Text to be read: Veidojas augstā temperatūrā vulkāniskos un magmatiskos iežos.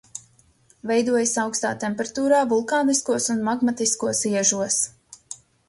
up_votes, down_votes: 2, 0